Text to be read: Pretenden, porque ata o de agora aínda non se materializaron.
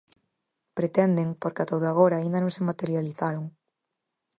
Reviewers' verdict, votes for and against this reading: accepted, 4, 0